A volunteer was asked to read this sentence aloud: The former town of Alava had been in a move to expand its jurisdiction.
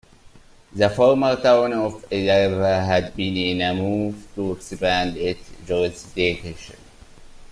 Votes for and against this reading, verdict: 1, 2, rejected